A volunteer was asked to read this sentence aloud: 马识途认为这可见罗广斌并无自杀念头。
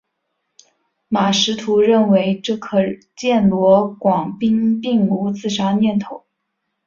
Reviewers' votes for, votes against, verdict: 2, 1, accepted